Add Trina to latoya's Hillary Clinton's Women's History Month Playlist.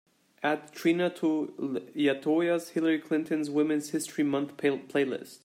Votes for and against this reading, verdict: 0, 2, rejected